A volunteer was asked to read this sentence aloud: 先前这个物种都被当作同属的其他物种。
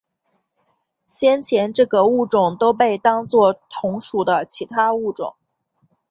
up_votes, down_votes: 3, 1